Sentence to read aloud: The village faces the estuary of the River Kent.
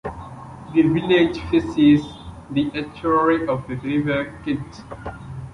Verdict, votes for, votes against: accepted, 2, 1